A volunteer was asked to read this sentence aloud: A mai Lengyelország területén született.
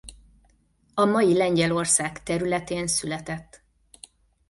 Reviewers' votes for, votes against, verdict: 2, 0, accepted